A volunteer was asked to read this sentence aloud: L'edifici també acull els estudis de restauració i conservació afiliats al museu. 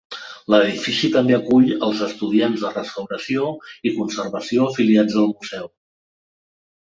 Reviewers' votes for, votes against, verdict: 1, 2, rejected